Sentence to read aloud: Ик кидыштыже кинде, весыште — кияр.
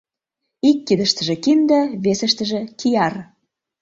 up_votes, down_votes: 0, 2